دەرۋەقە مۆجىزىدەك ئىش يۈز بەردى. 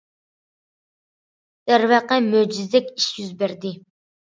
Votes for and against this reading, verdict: 2, 0, accepted